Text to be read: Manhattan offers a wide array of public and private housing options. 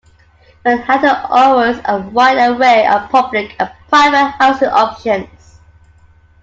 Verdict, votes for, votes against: rejected, 0, 2